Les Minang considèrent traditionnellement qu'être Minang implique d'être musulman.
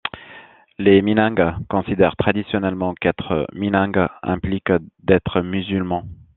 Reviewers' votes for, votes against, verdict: 2, 0, accepted